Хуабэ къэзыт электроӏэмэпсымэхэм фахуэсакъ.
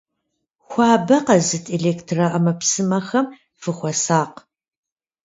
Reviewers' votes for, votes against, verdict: 1, 2, rejected